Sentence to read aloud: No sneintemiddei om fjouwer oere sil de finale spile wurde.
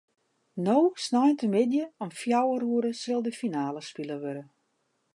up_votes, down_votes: 2, 0